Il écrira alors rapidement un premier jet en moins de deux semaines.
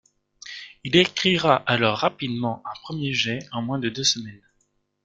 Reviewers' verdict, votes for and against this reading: rejected, 1, 2